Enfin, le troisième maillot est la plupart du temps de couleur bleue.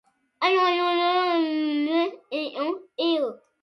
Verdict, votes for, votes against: rejected, 0, 2